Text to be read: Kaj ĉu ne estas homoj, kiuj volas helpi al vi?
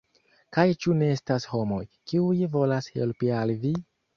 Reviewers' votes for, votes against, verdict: 2, 0, accepted